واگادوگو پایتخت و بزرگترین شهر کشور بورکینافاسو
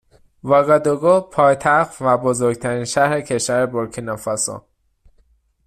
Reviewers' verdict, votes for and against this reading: accepted, 2, 0